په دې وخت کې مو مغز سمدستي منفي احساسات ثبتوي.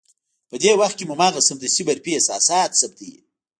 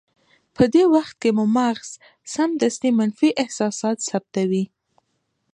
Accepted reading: second